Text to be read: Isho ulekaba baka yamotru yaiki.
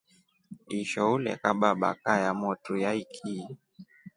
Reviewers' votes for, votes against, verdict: 2, 0, accepted